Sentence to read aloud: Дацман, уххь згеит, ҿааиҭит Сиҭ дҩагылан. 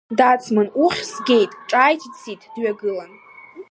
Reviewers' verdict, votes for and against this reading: accepted, 2, 1